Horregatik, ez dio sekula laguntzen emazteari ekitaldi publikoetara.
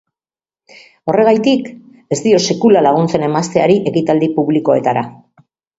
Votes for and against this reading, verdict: 2, 0, accepted